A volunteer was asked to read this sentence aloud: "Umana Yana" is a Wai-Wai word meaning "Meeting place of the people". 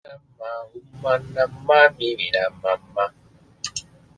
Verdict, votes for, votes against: rejected, 0, 2